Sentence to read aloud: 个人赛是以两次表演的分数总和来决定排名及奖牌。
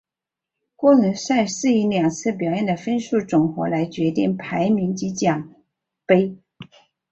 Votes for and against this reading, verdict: 4, 1, accepted